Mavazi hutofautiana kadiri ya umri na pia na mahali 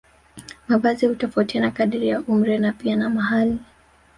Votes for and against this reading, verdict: 3, 0, accepted